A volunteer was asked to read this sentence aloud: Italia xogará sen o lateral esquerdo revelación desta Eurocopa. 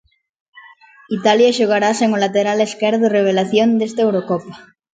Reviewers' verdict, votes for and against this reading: accepted, 2, 0